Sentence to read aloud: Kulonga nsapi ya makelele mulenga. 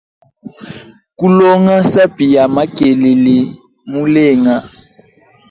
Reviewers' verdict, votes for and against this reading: accepted, 2, 0